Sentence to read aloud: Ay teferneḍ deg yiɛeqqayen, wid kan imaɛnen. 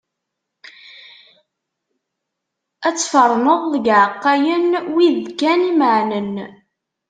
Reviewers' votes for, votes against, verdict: 0, 2, rejected